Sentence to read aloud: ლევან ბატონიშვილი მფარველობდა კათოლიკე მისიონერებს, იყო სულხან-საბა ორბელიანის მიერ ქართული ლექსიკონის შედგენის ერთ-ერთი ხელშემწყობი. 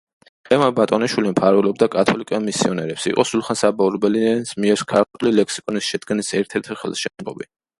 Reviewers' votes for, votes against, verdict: 0, 2, rejected